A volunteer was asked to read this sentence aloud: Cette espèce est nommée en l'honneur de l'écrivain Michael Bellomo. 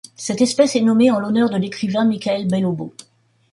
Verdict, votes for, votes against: rejected, 0, 2